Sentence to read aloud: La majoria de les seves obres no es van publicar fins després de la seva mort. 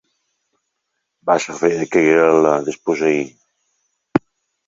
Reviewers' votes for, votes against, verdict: 0, 2, rejected